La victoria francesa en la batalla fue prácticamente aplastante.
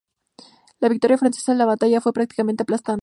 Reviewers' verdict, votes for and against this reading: accepted, 2, 0